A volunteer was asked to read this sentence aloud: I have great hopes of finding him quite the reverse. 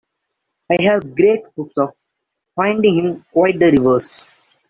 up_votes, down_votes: 0, 2